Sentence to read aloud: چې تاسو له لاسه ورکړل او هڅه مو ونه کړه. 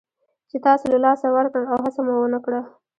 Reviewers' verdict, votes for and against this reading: rejected, 1, 2